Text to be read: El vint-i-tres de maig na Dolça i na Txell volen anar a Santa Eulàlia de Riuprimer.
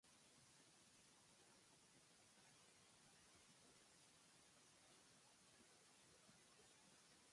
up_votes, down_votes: 1, 2